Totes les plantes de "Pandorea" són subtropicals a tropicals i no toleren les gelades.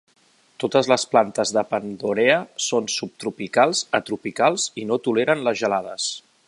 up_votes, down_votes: 2, 0